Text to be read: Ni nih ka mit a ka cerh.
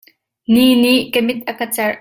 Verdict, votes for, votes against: accepted, 2, 0